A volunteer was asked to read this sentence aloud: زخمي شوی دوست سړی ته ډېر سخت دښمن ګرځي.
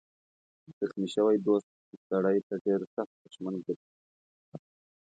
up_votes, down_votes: 2, 0